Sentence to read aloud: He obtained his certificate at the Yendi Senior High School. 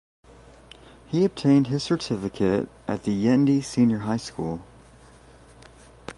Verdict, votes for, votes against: accepted, 2, 0